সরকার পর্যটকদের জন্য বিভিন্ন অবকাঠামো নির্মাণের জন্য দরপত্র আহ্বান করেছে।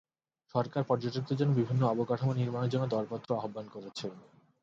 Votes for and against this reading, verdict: 2, 2, rejected